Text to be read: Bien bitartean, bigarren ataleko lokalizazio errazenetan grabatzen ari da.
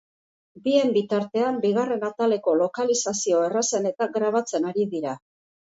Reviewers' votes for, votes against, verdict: 1, 2, rejected